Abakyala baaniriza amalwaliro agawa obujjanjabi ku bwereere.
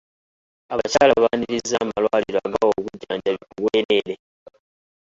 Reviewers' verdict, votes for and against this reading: accepted, 2, 1